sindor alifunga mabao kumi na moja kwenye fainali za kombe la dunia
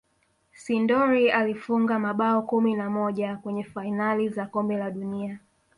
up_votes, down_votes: 2, 0